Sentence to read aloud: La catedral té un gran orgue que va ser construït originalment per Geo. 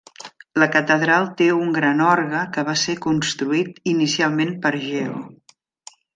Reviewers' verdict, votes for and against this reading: rejected, 0, 2